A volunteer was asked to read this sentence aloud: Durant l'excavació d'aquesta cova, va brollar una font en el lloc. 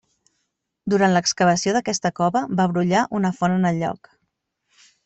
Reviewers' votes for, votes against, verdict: 1, 2, rejected